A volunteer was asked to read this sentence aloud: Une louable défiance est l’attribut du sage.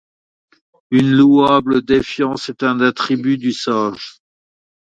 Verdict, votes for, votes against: rejected, 0, 2